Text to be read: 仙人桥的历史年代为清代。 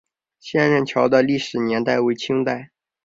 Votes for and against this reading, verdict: 2, 0, accepted